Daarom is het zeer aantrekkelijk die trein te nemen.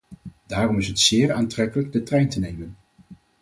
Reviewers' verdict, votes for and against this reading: rejected, 2, 4